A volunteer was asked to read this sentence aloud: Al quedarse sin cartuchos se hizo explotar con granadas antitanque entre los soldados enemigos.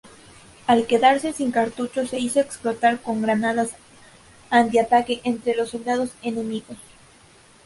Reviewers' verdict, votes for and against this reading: rejected, 0, 2